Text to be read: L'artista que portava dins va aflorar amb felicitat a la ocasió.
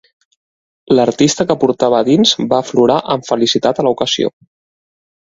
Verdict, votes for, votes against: accepted, 2, 0